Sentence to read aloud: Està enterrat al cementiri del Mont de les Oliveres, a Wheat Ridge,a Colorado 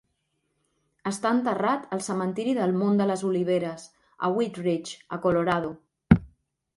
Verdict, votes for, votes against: accepted, 2, 0